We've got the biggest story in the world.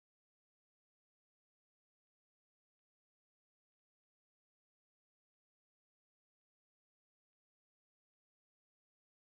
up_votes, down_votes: 0, 2